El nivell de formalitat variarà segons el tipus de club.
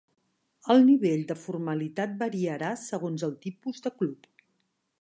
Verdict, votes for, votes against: accepted, 2, 0